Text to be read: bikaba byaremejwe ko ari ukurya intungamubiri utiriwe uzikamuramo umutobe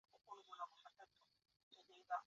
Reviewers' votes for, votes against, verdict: 0, 2, rejected